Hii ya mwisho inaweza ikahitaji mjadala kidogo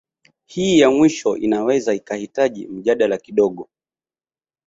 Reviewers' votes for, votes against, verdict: 2, 0, accepted